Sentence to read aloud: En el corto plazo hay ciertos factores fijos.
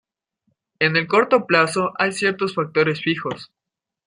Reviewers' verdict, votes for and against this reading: accepted, 2, 0